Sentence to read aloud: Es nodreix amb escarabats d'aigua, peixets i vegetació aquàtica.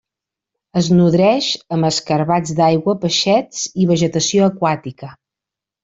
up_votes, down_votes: 2, 0